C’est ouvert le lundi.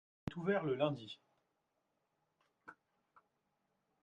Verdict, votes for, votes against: rejected, 1, 2